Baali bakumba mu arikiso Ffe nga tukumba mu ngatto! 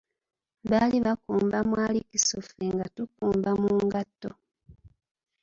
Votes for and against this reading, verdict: 0, 2, rejected